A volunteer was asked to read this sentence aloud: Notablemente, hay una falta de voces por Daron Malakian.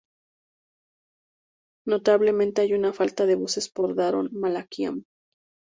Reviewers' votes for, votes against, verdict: 2, 0, accepted